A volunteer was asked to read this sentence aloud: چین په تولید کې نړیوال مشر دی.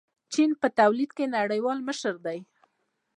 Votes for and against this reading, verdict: 0, 2, rejected